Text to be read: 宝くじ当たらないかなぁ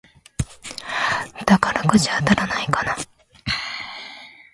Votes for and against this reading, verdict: 0, 2, rejected